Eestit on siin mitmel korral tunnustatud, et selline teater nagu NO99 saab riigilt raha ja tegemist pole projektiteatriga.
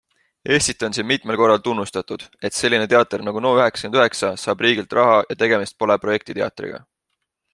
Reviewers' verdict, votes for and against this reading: rejected, 0, 2